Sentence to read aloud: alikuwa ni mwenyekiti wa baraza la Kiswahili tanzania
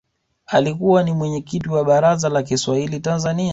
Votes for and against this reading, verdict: 2, 0, accepted